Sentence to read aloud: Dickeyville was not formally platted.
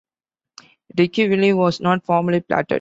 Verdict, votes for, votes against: accepted, 2, 0